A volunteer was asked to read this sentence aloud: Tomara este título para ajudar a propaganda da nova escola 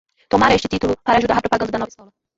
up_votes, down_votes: 2, 1